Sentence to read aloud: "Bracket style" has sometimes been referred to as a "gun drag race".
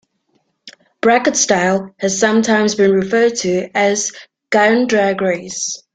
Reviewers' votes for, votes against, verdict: 2, 1, accepted